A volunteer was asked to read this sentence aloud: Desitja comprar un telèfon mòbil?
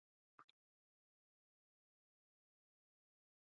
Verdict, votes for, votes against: rejected, 0, 2